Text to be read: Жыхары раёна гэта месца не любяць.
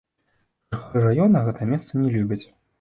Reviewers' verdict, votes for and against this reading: rejected, 0, 2